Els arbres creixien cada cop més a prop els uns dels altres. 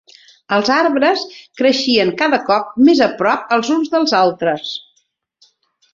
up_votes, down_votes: 3, 0